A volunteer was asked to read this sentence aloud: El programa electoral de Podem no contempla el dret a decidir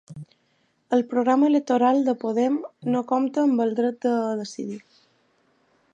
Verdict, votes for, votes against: rejected, 0, 2